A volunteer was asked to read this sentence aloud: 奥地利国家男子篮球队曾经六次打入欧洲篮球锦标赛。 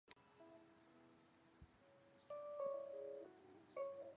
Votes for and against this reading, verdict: 2, 4, rejected